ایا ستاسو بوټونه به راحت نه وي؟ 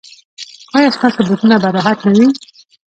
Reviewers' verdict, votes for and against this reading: rejected, 0, 2